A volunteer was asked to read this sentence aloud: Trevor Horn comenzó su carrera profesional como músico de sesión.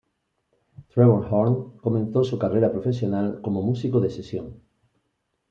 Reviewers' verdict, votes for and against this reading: accepted, 3, 0